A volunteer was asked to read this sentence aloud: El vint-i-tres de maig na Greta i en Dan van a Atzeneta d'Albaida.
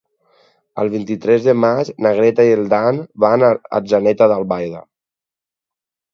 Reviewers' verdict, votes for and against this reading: rejected, 2, 2